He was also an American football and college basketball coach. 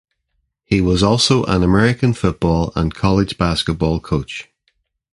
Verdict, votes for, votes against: accepted, 2, 0